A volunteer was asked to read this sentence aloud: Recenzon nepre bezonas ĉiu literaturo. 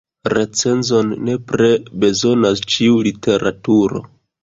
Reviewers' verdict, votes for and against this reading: rejected, 0, 2